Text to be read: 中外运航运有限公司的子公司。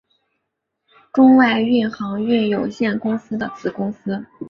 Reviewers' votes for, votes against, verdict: 3, 0, accepted